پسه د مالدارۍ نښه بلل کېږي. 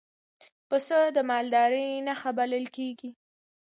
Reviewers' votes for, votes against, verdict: 2, 1, accepted